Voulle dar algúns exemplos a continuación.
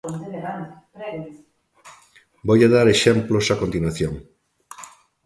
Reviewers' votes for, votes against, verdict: 0, 2, rejected